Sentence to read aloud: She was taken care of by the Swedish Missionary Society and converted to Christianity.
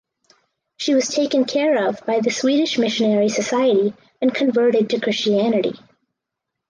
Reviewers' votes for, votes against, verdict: 4, 0, accepted